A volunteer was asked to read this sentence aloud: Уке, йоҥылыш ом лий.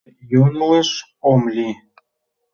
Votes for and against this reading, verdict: 0, 2, rejected